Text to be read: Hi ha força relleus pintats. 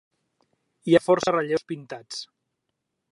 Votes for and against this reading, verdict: 2, 0, accepted